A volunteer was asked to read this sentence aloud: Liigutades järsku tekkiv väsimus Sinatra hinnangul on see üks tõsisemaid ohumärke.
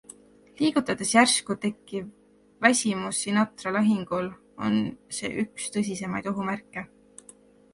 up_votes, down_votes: 1, 3